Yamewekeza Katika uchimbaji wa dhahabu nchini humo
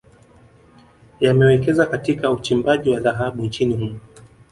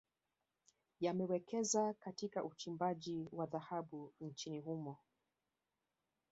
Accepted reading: second